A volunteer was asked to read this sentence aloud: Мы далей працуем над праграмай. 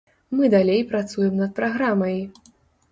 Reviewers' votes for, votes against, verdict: 2, 0, accepted